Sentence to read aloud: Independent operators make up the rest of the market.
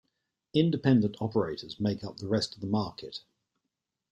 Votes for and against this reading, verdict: 2, 0, accepted